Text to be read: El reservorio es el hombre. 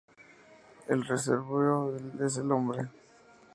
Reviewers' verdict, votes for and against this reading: accepted, 2, 0